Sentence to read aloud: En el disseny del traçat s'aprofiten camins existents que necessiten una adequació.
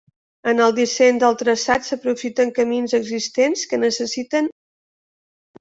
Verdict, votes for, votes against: rejected, 1, 2